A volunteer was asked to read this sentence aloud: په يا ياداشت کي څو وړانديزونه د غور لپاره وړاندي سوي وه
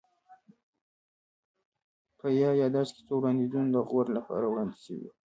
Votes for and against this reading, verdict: 0, 2, rejected